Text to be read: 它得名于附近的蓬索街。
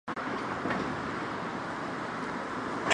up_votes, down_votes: 0, 4